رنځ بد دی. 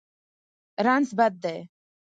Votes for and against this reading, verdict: 4, 0, accepted